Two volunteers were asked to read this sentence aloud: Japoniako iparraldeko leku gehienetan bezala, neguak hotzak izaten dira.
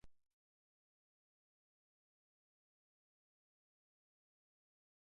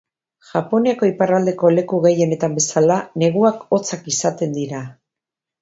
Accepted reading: second